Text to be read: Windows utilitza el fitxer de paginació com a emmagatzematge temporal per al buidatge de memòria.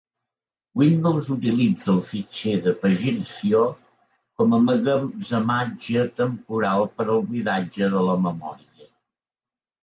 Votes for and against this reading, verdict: 1, 2, rejected